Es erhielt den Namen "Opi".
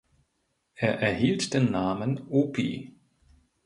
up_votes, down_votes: 1, 2